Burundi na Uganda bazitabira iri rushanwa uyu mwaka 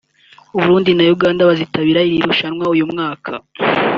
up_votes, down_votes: 0, 2